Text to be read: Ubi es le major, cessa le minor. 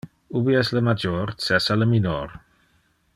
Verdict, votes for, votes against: accepted, 2, 0